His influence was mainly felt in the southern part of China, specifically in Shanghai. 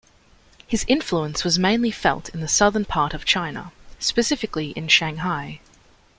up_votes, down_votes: 2, 0